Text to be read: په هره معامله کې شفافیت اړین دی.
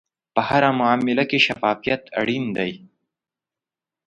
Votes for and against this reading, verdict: 2, 0, accepted